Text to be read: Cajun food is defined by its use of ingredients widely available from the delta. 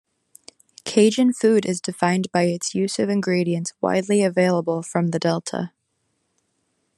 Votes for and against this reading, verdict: 2, 0, accepted